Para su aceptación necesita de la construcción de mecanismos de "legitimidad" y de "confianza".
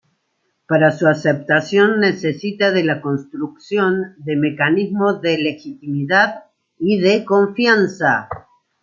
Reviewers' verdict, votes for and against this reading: accepted, 2, 0